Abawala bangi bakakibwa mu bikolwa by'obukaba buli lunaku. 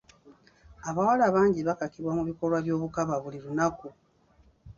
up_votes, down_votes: 2, 0